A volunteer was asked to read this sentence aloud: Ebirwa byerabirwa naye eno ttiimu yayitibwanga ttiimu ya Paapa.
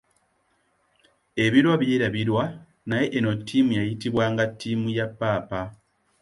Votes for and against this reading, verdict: 2, 0, accepted